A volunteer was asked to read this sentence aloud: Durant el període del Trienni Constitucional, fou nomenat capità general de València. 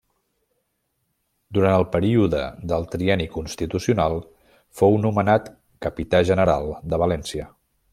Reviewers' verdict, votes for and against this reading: accepted, 2, 0